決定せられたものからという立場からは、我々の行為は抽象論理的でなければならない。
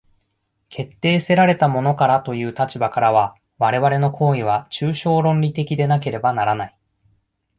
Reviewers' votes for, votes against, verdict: 2, 1, accepted